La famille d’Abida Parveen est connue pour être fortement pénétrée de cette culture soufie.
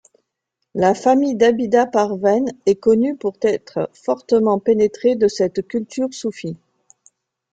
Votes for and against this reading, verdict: 1, 2, rejected